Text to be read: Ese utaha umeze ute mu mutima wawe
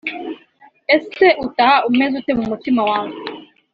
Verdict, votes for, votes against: accepted, 2, 0